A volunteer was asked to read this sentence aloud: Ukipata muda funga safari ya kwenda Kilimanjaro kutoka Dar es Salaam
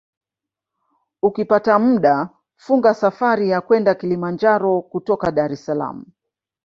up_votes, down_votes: 2, 1